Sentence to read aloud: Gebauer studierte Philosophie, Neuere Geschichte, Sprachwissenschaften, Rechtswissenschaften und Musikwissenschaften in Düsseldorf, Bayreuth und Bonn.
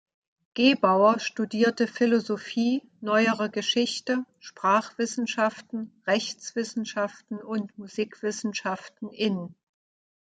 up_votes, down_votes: 0, 2